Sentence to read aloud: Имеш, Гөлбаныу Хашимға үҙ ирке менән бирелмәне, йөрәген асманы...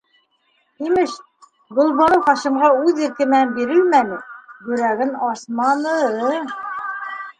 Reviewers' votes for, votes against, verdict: 2, 1, accepted